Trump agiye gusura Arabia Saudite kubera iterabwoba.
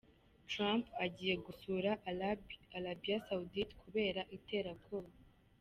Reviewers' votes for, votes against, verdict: 1, 2, rejected